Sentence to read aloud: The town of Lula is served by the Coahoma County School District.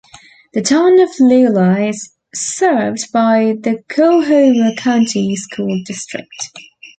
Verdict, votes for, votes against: rejected, 0, 2